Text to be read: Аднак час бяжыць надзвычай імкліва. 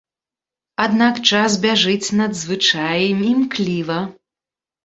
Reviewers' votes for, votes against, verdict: 0, 2, rejected